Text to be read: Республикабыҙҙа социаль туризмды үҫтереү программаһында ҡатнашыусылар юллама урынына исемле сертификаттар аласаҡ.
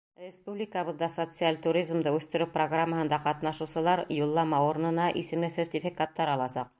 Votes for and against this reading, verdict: 2, 0, accepted